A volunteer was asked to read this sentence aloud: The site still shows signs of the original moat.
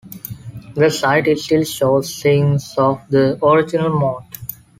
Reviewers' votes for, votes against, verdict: 1, 2, rejected